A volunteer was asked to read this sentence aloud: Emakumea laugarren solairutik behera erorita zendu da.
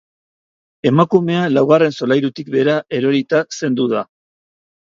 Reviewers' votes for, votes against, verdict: 3, 0, accepted